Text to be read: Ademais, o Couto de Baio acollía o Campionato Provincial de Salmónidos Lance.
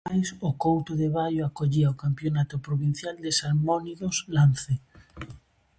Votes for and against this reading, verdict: 0, 2, rejected